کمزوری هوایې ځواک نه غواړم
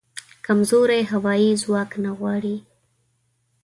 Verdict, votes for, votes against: rejected, 1, 2